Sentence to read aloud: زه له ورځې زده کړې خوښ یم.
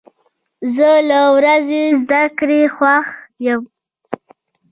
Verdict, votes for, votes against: accepted, 2, 0